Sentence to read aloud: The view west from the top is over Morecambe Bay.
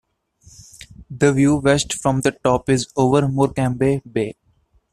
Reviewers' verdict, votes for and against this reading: rejected, 0, 2